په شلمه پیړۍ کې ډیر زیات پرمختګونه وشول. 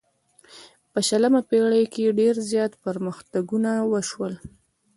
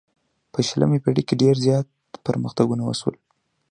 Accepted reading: second